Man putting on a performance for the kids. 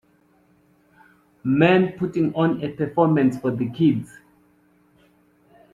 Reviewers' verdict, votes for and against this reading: accepted, 2, 0